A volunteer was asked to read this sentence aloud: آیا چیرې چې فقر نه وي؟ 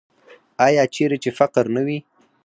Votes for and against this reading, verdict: 2, 4, rejected